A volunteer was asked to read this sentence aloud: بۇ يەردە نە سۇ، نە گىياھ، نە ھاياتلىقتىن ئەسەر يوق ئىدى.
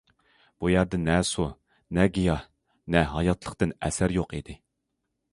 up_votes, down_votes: 2, 0